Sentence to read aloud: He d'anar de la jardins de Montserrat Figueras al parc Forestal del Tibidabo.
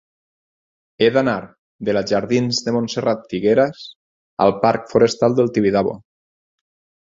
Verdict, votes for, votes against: accepted, 4, 0